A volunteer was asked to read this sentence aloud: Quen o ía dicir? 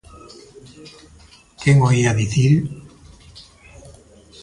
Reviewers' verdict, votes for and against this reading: accepted, 2, 0